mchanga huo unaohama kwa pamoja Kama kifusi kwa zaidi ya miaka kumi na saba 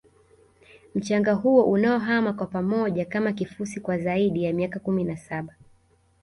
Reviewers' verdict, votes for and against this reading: rejected, 1, 2